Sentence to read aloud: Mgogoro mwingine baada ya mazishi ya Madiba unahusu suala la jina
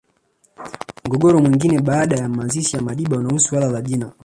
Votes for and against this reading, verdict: 1, 2, rejected